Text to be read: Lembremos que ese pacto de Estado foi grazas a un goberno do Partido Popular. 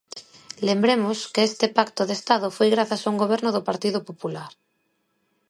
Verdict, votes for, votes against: rejected, 0, 2